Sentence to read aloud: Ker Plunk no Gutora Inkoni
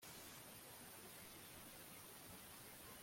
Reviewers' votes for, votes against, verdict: 0, 2, rejected